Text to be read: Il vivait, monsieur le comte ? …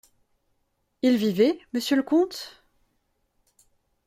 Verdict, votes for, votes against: accepted, 2, 0